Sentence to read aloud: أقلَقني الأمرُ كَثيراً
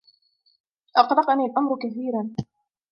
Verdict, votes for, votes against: rejected, 1, 2